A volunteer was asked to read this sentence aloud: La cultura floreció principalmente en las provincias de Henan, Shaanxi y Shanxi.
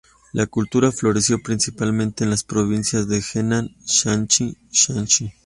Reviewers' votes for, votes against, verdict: 0, 3, rejected